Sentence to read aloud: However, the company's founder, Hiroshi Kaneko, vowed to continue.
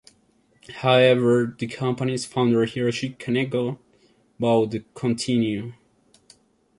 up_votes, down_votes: 1, 2